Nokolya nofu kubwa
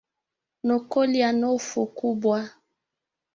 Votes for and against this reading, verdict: 0, 2, rejected